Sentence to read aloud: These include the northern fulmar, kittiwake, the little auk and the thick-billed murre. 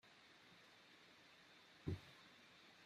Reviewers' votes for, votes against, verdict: 0, 2, rejected